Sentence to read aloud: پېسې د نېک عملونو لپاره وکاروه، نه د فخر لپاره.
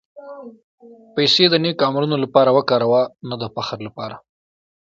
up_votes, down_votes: 2, 1